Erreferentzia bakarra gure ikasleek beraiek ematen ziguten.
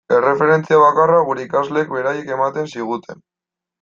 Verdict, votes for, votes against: accepted, 2, 0